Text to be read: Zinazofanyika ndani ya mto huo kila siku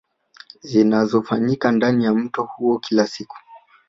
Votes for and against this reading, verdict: 2, 1, accepted